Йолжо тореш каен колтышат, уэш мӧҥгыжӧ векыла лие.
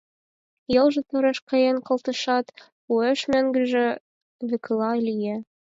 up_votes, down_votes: 4, 0